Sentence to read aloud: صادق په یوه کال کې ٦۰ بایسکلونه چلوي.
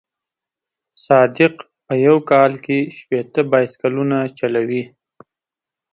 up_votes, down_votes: 0, 2